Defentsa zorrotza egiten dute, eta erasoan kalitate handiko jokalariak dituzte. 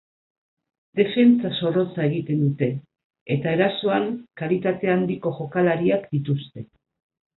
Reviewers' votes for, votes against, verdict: 4, 0, accepted